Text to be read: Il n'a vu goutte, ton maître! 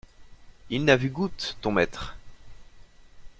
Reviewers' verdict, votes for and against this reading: accepted, 2, 0